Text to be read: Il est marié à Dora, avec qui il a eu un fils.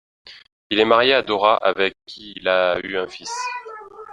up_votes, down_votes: 1, 2